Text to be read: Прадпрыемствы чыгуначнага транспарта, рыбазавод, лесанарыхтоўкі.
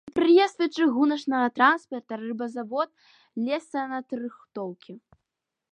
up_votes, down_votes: 0, 2